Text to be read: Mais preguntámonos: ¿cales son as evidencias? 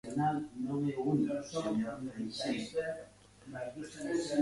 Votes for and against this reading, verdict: 0, 2, rejected